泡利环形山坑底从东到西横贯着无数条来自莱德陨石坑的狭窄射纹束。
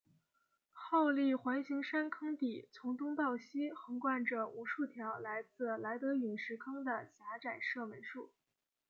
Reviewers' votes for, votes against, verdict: 0, 2, rejected